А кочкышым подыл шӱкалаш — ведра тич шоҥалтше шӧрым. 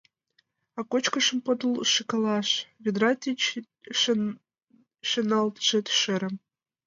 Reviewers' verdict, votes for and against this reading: rejected, 0, 2